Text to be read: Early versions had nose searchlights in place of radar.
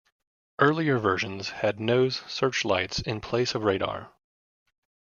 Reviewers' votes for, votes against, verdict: 1, 2, rejected